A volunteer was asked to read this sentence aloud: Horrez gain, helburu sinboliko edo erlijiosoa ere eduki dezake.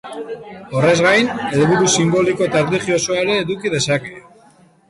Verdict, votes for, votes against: rejected, 0, 2